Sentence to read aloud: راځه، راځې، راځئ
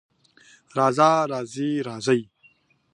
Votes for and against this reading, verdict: 2, 0, accepted